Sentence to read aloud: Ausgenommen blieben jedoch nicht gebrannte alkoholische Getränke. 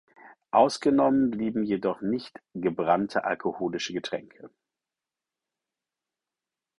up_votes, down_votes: 4, 0